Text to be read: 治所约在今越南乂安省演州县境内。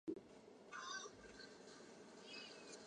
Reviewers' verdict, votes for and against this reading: rejected, 0, 3